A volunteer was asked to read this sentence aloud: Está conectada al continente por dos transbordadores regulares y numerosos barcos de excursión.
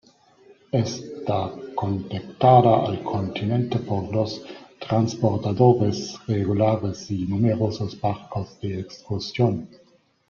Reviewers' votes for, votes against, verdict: 0, 2, rejected